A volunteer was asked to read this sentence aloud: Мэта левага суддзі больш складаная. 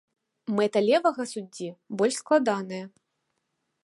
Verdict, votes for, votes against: accepted, 3, 0